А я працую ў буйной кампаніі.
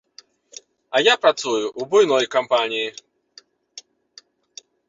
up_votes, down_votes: 1, 2